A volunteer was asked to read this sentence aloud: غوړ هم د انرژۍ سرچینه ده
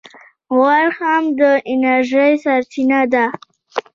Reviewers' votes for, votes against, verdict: 2, 0, accepted